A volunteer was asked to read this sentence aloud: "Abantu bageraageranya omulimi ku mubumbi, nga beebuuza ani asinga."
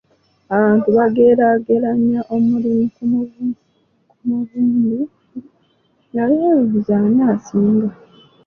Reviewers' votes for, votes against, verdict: 2, 0, accepted